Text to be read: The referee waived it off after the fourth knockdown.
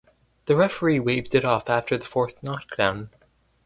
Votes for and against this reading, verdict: 4, 0, accepted